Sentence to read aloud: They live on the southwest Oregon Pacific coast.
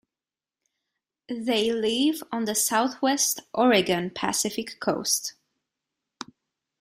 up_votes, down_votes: 2, 0